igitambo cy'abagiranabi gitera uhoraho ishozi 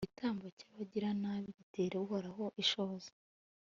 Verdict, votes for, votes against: accepted, 2, 0